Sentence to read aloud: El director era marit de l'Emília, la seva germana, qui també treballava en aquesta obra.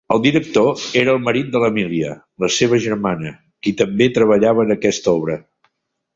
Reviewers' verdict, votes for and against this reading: accepted, 2, 1